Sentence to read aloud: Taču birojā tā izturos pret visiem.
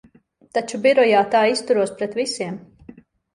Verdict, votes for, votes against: accepted, 2, 0